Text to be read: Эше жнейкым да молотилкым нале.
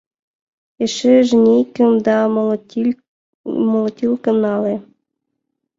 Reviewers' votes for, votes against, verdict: 0, 2, rejected